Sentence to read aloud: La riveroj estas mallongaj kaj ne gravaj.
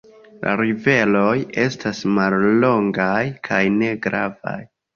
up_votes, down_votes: 2, 0